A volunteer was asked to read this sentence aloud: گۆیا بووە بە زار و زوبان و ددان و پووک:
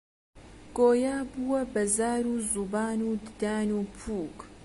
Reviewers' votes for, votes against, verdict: 2, 0, accepted